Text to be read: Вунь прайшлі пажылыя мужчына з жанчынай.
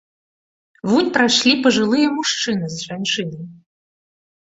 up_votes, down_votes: 2, 0